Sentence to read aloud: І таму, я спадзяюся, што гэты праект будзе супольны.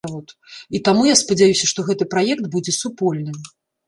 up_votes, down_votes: 1, 2